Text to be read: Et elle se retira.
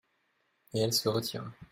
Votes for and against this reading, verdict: 2, 0, accepted